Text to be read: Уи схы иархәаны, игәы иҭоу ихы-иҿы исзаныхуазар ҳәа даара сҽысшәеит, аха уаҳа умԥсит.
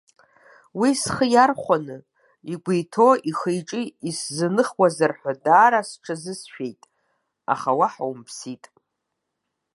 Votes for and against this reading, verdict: 2, 1, accepted